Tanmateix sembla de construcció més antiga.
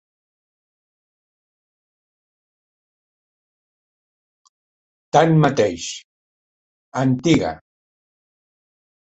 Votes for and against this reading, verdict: 0, 2, rejected